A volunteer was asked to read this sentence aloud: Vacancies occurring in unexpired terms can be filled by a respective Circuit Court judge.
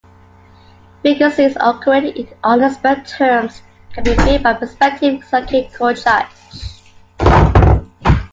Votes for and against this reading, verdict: 2, 1, accepted